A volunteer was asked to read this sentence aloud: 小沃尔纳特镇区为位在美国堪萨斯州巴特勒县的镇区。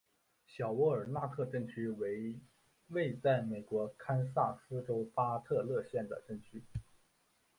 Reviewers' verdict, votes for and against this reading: rejected, 1, 2